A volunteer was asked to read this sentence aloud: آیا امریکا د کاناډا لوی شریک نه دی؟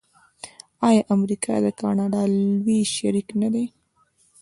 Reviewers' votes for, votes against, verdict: 2, 0, accepted